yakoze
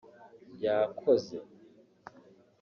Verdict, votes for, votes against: accepted, 2, 0